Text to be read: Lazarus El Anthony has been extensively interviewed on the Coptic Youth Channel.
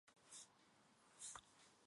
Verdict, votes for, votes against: rejected, 0, 2